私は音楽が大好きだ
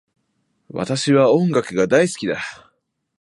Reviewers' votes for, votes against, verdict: 2, 0, accepted